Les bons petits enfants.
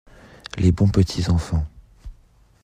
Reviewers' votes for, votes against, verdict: 2, 0, accepted